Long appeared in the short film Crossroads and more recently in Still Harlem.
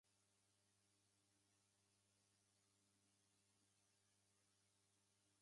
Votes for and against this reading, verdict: 0, 2, rejected